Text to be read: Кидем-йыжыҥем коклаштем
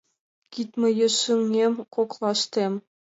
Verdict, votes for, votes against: rejected, 1, 2